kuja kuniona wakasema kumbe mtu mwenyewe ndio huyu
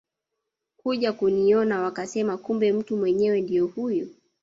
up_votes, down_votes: 0, 2